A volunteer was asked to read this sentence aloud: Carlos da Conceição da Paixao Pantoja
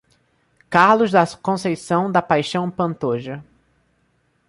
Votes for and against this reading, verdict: 1, 2, rejected